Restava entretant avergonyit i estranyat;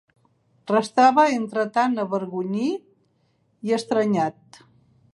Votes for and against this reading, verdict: 7, 1, accepted